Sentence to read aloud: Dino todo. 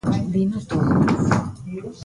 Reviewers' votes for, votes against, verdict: 1, 2, rejected